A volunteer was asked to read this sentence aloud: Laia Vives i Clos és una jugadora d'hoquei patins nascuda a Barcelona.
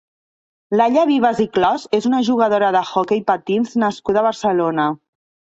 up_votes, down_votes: 1, 2